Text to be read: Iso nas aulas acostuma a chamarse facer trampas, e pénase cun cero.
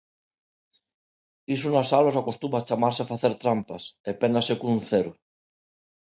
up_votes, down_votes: 2, 0